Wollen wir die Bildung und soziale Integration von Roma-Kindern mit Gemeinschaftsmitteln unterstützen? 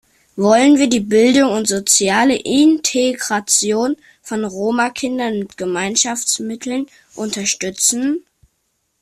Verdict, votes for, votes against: accepted, 2, 1